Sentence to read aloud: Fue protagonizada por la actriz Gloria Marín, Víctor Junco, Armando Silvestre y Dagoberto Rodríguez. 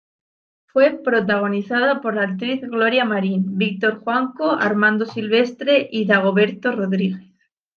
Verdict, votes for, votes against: rejected, 0, 2